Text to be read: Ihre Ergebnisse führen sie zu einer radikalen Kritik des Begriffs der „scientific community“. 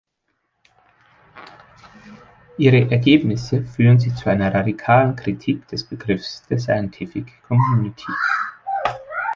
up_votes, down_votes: 1, 2